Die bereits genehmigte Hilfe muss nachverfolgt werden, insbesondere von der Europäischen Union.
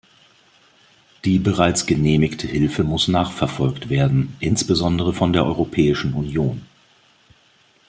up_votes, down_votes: 2, 0